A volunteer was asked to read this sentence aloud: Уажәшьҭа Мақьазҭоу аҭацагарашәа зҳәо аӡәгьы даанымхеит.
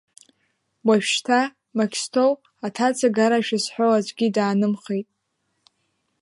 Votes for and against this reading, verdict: 0, 3, rejected